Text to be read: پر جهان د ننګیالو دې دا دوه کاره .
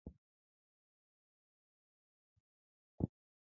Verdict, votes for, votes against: rejected, 1, 2